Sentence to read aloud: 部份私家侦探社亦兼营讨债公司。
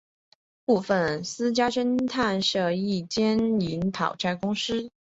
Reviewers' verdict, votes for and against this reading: accepted, 3, 0